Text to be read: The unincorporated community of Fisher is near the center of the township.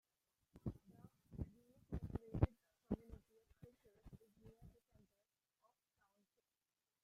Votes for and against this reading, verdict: 0, 2, rejected